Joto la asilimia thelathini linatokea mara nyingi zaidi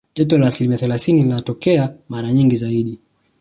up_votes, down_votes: 1, 2